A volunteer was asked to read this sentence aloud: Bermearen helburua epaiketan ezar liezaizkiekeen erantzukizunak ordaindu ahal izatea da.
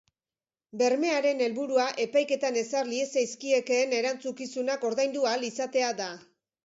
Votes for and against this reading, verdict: 3, 0, accepted